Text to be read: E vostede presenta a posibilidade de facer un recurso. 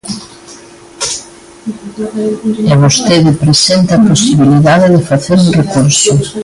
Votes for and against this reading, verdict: 0, 2, rejected